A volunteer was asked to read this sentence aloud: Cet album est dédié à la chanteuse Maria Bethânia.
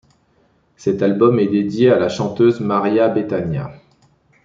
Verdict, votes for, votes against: accepted, 2, 0